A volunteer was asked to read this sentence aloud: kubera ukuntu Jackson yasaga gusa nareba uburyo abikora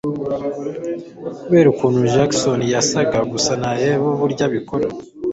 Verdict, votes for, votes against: accepted, 2, 0